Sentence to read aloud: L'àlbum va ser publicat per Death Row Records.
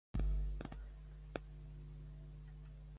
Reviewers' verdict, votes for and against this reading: rejected, 0, 2